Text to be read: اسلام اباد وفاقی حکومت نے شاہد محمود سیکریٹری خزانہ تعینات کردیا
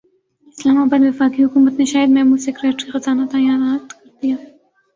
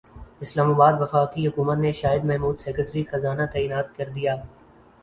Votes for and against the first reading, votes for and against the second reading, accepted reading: 1, 2, 3, 0, second